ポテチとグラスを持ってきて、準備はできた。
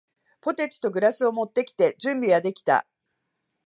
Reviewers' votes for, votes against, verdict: 2, 0, accepted